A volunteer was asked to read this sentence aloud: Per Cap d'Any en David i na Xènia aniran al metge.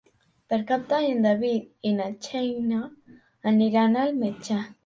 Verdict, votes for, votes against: rejected, 2, 3